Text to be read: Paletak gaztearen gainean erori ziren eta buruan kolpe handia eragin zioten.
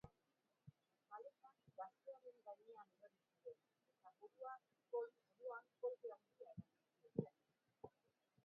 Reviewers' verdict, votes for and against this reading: rejected, 0, 4